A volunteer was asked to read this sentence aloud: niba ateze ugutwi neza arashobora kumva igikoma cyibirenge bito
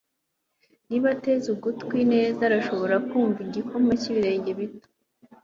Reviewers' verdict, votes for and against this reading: accepted, 2, 0